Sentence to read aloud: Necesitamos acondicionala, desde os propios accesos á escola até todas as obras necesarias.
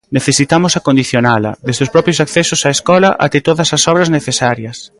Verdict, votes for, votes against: rejected, 1, 2